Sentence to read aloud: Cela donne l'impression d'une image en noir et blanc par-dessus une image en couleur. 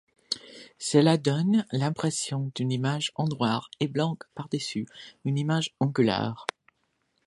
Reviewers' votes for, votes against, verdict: 2, 1, accepted